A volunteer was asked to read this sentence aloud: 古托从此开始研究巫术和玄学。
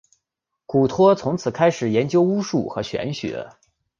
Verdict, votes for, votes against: accepted, 2, 0